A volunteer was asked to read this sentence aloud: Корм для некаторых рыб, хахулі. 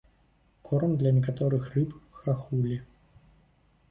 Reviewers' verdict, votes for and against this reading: accepted, 2, 0